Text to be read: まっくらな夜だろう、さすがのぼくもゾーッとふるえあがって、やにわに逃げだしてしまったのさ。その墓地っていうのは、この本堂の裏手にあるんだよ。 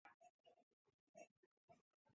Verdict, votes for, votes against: rejected, 0, 2